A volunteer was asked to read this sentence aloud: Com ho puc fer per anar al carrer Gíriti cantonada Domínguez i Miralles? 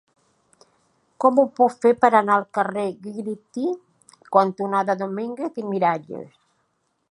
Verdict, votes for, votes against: rejected, 1, 2